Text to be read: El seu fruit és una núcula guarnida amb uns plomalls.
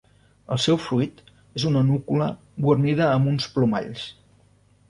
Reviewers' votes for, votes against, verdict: 2, 1, accepted